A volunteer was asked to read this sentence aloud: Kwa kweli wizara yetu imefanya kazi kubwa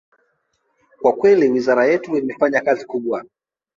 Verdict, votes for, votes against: rejected, 0, 2